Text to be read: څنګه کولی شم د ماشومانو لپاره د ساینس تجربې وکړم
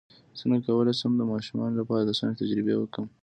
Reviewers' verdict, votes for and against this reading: accepted, 2, 0